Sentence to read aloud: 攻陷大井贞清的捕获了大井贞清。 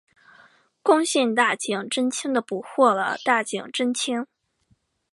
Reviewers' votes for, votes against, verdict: 2, 0, accepted